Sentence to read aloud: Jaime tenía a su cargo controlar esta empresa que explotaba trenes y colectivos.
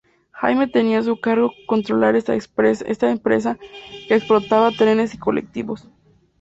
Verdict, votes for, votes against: rejected, 0, 2